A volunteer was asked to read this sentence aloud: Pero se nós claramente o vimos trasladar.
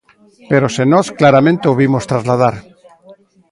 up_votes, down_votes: 3, 0